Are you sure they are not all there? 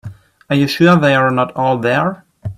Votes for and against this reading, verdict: 3, 0, accepted